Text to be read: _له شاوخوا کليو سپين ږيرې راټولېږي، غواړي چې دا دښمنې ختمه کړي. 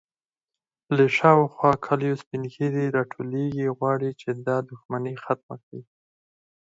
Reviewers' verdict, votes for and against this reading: accepted, 6, 2